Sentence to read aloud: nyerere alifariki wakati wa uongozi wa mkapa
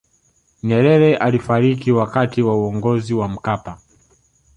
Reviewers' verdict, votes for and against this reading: accepted, 3, 0